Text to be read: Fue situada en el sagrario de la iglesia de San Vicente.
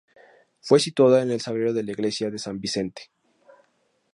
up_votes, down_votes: 2, 0